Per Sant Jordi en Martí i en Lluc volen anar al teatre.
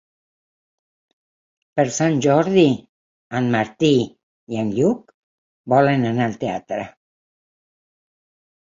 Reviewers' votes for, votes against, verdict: 8, 0, accepted